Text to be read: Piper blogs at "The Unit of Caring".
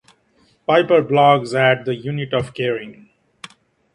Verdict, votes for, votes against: accepted, 2, 1